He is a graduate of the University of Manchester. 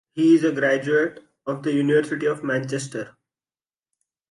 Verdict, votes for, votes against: rejected, 1, 2